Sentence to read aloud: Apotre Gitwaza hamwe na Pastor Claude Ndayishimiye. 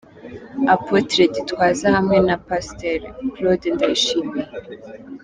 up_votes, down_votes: 2, 0